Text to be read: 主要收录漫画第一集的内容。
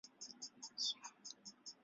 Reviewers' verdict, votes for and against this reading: rejected, 2, 3